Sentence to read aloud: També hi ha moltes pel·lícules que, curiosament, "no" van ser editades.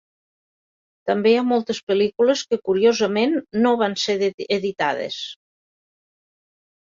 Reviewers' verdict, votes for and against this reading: rejected, 1, 2